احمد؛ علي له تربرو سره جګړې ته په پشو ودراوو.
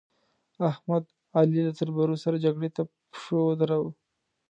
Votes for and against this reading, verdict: 2, 0, accepted